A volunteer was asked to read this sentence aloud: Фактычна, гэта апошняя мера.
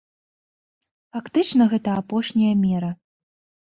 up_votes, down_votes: 2, 0